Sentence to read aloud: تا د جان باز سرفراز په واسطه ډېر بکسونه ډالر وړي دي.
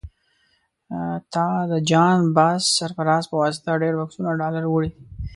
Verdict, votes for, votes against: rejected, 0, 2